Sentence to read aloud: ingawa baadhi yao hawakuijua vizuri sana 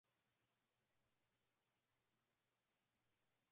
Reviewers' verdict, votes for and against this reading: rejected, 0, 2